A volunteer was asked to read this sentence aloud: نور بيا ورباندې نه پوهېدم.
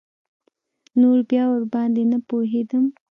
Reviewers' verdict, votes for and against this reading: accepted, 2, 0